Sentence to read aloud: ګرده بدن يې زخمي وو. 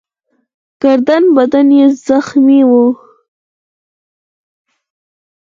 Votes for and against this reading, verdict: 4, 0, accepted